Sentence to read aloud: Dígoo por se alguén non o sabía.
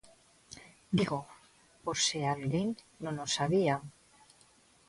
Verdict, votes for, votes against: accepted, 2, 0